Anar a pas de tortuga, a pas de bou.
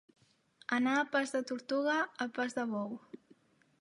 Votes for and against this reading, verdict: 3, 0, accepted